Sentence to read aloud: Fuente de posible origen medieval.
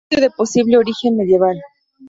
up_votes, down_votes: 0, 2